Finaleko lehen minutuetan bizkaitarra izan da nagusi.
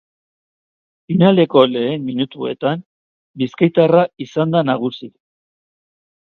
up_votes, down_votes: 4, 0